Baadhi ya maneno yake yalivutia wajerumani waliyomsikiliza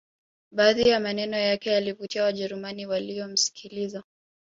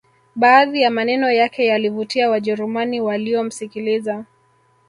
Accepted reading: first